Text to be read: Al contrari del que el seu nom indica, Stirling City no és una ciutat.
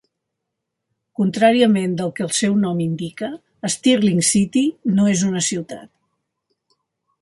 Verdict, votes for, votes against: rejected, 0, 2